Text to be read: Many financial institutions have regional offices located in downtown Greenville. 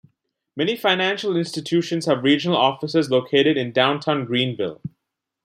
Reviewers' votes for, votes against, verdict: 2, 0, accepted